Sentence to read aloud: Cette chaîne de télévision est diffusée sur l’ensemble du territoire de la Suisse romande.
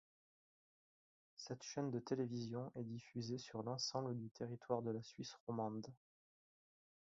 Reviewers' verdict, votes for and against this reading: accepted, 4, 2